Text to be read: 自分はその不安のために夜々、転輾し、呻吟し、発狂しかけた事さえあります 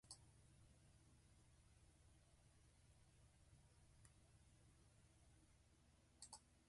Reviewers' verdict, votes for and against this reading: rejected, 0, 3